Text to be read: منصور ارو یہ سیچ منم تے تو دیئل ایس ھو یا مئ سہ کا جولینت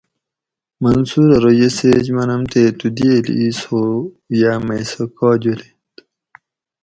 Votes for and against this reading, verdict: 4, 0, accepted